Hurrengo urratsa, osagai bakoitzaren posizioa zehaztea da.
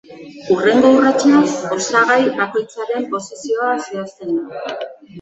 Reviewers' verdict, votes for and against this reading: rejected, 0, 2